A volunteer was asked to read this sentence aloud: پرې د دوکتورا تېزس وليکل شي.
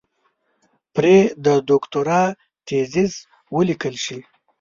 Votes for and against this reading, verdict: 1, 2, rejected